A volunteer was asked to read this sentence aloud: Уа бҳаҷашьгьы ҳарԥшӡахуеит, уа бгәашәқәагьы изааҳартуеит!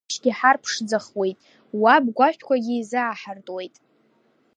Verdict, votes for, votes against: rejected, 0, 2